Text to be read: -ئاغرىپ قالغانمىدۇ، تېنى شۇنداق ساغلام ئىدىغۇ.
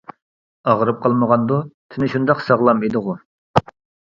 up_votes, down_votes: 1, 2